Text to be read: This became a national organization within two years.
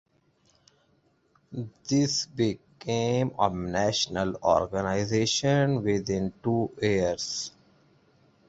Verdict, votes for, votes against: rejected, 0, 3